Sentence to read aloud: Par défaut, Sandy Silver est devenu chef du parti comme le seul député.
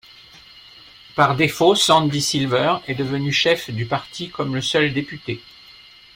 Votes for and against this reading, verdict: 2, 0, accepted